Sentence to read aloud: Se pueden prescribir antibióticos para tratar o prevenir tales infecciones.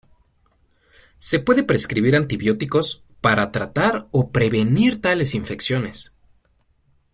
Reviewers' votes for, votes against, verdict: 0, 2, rejected